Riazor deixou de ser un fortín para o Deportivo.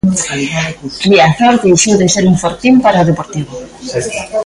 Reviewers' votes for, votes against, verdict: 2, 1, accepted